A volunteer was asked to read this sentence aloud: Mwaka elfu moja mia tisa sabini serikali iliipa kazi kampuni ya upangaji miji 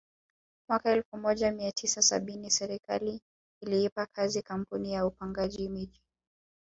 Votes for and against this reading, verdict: 2, 1, accepted